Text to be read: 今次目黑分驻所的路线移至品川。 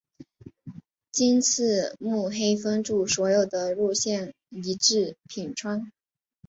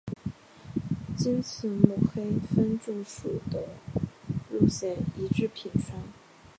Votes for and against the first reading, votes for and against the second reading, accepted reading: 2, 1, 1, 2, first